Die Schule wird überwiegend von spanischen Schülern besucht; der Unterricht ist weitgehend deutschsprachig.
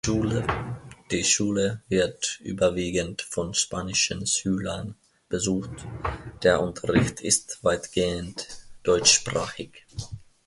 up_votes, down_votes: 0, 2